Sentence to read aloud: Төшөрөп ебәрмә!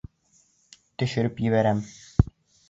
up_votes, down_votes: 1, 2